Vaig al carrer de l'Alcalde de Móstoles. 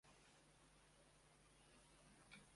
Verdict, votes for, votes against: rejected, 0, 2